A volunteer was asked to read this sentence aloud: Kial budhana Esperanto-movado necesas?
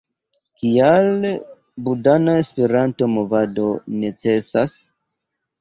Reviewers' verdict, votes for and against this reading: rejected, 0, 2